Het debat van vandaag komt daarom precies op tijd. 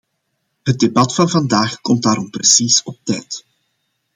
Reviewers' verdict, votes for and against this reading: accepted, 2, 0